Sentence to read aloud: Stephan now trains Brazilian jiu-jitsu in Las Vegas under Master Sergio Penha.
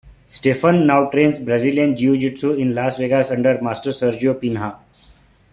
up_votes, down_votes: 3, 2